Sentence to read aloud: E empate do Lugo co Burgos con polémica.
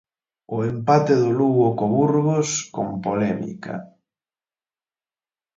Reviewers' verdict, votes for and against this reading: accepted, 4, 2